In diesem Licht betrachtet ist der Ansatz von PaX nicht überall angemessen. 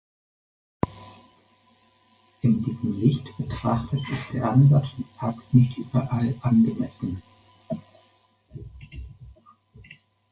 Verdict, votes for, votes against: rejected, 2, 4